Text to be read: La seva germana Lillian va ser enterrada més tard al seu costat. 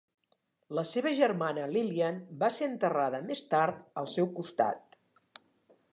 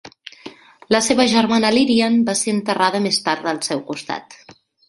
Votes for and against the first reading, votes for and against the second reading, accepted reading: 3, 0, 0, 2, first